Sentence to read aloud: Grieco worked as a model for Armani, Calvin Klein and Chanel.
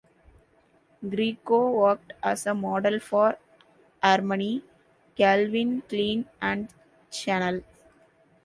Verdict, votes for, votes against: rejected, 0, 2